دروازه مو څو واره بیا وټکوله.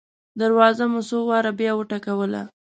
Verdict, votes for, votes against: accepted, 2, 0